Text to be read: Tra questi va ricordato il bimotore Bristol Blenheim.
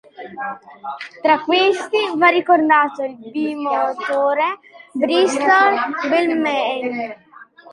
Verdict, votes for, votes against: accepted, 2, 1